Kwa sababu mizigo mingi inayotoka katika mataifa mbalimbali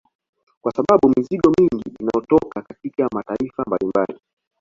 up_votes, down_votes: 0, 2